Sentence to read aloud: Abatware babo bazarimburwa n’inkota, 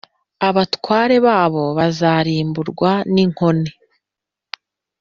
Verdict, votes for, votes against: rejected, 1, 2